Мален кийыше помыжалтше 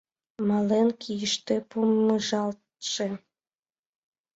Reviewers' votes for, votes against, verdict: 1, 2, rejected